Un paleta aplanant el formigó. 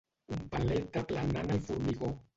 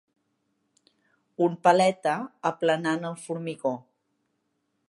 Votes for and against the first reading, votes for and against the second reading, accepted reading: 0, 2, 3, 0, second